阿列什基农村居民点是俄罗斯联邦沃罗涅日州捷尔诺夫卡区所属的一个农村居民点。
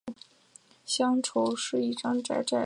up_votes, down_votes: 0, 2